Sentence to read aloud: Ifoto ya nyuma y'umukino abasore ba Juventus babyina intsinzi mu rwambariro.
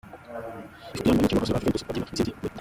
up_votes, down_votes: 0, 2